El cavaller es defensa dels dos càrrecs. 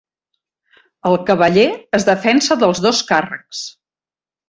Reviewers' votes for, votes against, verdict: 3, 0, accepted